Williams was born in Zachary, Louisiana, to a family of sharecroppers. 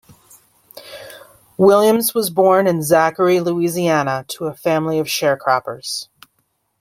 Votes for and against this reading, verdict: 2, 0, accepted